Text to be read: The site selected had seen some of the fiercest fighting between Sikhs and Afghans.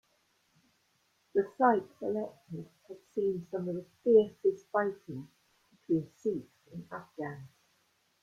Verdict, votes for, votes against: accepted, 2, 0